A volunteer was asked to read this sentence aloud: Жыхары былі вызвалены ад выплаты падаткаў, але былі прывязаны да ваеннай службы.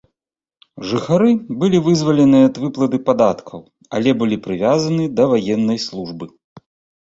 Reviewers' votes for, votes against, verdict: 2, 0, accepted